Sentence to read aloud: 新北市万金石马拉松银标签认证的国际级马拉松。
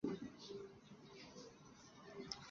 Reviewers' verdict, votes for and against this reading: rejected, 4, 7